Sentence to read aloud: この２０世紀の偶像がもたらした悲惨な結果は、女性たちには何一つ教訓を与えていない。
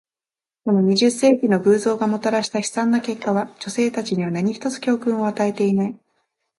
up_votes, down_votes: 0, 2